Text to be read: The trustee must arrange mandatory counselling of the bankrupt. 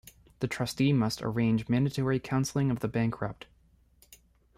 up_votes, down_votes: 1, 2